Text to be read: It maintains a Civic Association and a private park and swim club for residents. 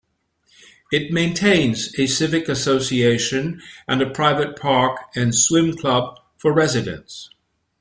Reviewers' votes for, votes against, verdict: 2, 0, accepted